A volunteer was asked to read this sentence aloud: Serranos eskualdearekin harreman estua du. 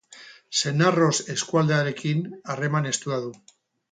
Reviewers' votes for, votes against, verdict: 4, 4, rejected